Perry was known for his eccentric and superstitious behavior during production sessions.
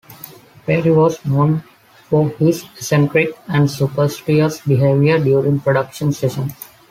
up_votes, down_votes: 2, 1